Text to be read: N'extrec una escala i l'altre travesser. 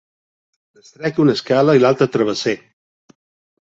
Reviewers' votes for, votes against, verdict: 2, 1, accepted